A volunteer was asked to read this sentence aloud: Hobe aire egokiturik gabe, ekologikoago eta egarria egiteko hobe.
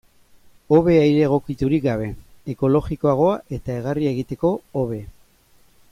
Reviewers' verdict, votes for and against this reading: accepted, 3, 0